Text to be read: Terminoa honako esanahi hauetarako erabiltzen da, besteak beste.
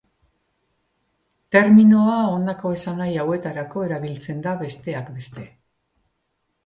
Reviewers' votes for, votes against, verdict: 2, 0, accepted